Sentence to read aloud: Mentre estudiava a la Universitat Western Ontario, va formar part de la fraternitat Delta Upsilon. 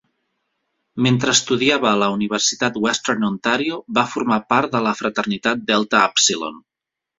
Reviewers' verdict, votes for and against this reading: accepted, 2, 0